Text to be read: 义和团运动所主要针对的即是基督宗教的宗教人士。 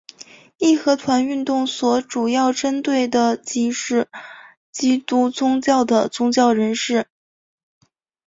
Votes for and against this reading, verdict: 0, 3, rejected